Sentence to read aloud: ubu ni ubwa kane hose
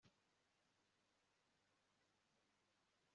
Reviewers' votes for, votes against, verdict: 0, 2, rejected